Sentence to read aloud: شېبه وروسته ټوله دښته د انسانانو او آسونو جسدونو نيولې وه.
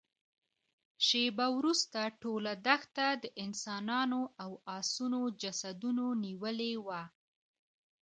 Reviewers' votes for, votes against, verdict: 1, 2, rejected